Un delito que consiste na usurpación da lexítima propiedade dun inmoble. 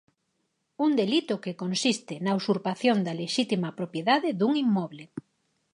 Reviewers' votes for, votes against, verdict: 4, 0, accepted